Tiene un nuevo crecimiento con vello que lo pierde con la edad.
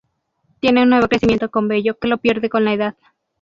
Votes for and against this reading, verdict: 2, 0, accepted